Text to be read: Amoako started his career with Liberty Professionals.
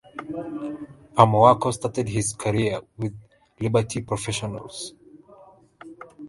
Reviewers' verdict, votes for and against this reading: accepted, 2, 1